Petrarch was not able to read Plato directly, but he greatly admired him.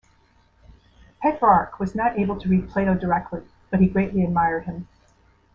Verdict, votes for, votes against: accepted, 2, 0